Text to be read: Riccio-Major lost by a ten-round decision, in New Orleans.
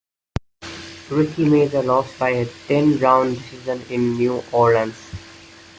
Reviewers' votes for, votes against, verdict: 1, 2, rejected